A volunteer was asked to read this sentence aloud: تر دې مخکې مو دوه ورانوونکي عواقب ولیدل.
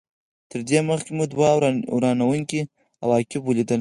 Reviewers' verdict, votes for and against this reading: rejected, 2, 4